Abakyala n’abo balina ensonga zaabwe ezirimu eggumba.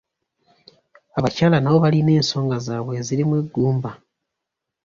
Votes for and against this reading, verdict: 2, 0, accepted